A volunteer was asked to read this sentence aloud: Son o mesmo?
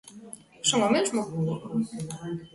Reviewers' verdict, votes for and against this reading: rejected, 1, 2